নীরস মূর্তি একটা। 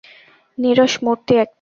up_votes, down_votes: 0, 2